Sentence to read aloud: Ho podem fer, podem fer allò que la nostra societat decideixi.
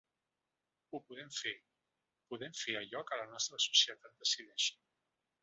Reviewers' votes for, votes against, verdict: 0, 2, rejected